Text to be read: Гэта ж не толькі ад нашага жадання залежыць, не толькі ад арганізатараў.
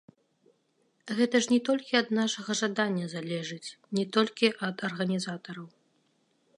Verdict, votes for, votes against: rejected, 1, 2